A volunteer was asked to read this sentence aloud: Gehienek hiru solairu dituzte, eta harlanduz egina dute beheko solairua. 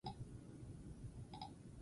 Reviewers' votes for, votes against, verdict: 0, 16, rejected